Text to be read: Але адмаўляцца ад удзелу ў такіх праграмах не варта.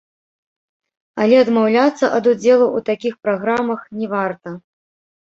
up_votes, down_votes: 1, 2